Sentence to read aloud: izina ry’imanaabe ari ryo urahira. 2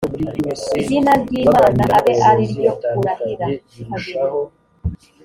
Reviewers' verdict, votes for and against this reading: rejected, 0, 2